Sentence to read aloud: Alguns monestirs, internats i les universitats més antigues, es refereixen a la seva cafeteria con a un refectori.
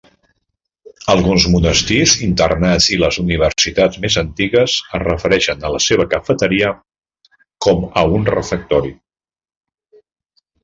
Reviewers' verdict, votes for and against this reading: rejected, 1, 2